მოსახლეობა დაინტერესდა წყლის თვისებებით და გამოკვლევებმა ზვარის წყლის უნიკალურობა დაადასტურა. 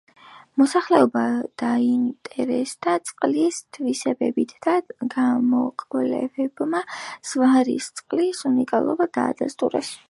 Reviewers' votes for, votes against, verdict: 0, 2, rejected